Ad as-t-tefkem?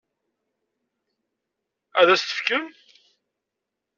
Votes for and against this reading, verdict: 1, 2, rejected